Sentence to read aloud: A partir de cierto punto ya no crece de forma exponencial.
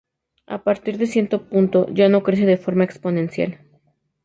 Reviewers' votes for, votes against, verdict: 2, 0, accepted